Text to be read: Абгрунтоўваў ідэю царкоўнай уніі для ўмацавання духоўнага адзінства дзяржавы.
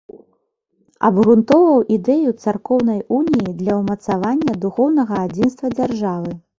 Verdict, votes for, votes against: accepted, 2, 0